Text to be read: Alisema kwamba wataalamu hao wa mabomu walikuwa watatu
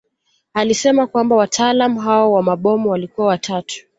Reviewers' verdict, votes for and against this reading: accepted, 2, 0